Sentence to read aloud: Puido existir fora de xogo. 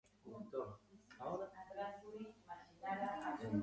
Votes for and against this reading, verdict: 0, 2, rejected